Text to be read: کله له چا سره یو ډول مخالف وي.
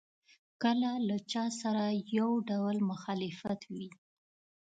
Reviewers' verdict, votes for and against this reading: rejected, 0, 2